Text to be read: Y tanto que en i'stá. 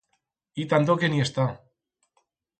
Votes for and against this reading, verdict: 2, 4, rejected